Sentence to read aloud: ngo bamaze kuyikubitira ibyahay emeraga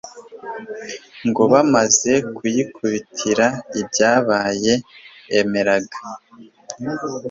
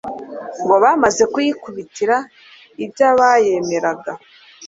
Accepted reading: second